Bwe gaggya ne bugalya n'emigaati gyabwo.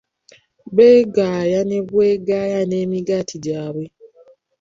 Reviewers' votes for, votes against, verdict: 0, 2, rejected